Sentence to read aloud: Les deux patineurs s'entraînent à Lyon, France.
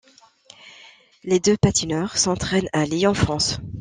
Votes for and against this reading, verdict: 2, 0, accepted